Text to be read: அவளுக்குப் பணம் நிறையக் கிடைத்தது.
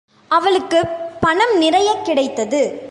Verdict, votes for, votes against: accepted, 2, 0